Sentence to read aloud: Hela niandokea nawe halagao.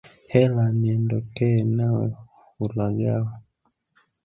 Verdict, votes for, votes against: rejected, 1, 2